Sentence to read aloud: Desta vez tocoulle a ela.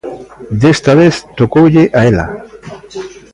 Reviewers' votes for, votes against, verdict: 2, 0, accepted